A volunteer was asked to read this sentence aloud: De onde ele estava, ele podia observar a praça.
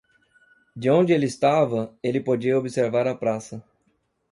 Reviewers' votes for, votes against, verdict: 2, 0, accepted